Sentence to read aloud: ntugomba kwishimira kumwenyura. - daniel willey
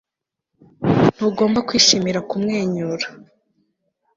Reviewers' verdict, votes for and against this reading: rejected, 1, 2